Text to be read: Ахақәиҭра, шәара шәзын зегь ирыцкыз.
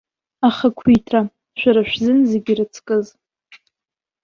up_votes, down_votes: 2, 0